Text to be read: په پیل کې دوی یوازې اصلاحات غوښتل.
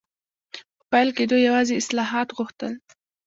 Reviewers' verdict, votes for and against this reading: rejected, 0, 2